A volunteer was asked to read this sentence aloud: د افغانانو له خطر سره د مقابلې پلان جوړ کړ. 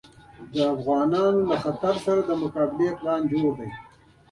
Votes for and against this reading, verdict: 0, 2, rejected